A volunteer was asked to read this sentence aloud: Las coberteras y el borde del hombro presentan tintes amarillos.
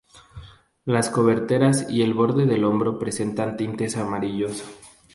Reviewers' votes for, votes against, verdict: 2, 0, accepted